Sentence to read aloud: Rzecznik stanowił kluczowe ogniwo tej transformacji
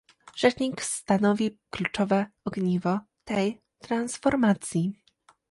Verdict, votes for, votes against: rejected, 1, 2